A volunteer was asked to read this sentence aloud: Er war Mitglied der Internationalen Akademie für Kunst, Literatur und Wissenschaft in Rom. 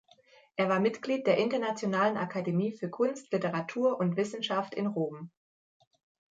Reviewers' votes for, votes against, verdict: 2, 0, accepted